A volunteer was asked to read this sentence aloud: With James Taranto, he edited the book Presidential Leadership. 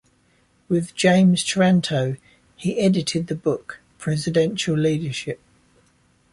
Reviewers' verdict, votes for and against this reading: accepted, 2, 0